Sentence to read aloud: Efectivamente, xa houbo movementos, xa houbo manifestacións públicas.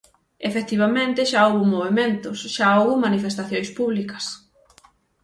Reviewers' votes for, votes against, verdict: 6, 0, accepted